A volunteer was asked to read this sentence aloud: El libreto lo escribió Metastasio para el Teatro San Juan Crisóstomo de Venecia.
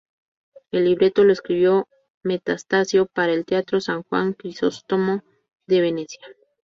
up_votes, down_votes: 2, 2